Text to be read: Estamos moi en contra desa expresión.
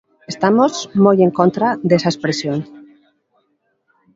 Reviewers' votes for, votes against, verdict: 1, 2, rejected